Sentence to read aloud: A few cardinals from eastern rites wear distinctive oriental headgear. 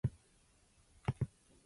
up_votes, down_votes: 0, 2